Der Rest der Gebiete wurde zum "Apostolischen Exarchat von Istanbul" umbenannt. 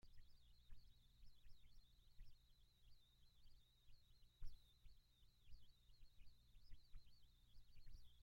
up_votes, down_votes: 0, 2